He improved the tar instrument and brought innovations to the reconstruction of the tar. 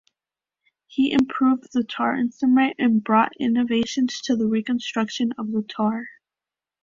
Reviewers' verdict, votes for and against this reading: accepted, 2, 0